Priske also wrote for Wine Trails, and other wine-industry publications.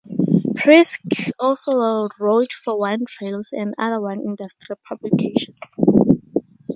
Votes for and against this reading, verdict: 0, 4, rejected